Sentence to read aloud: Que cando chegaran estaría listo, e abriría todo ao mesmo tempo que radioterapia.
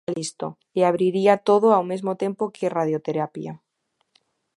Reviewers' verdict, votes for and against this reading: rejected, 0, 2